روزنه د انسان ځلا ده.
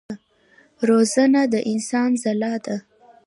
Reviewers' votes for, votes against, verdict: 1, 2, rejected